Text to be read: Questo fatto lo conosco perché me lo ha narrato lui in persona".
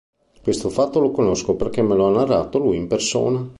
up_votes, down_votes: 2, 0